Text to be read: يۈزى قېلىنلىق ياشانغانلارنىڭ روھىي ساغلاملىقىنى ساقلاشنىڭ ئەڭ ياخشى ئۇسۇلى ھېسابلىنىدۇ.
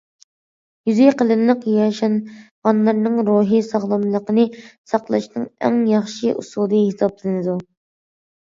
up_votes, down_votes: 2, 0